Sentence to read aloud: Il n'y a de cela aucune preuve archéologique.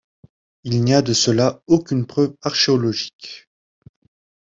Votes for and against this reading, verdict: 1, 2, rejected